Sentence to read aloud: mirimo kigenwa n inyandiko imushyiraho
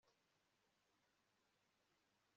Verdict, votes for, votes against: accepted, 2, 1